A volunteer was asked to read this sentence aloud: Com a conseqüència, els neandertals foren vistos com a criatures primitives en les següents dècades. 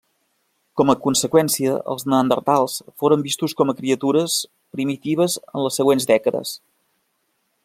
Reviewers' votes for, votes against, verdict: 3, 0, accepted